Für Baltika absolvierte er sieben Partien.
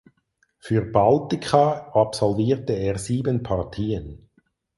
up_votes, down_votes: 4, 0